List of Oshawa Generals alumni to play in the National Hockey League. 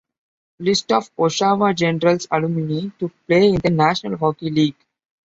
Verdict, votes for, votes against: accepted, 2, 0